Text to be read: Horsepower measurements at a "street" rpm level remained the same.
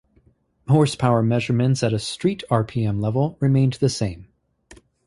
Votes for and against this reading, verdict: 2, 0, accepted